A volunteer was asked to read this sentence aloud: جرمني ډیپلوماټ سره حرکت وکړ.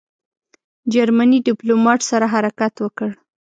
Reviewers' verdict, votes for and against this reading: accepted, 2, 0